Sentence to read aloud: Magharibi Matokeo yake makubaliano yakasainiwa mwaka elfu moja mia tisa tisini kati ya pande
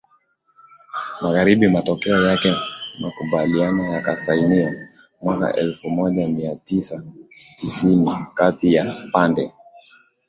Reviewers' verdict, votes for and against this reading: accepted, 2, 0